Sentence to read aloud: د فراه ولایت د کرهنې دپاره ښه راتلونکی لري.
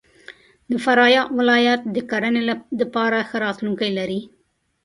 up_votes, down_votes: 1, 2